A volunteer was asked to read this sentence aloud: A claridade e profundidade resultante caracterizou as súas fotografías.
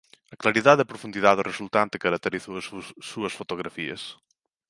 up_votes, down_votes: 2, 1